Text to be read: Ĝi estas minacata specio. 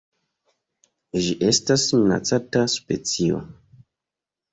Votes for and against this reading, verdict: 1, 2, rejected